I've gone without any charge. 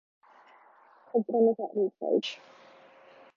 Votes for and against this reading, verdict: 0, 2, rejected